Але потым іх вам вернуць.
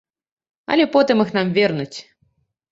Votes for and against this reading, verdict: 0, 2, rejected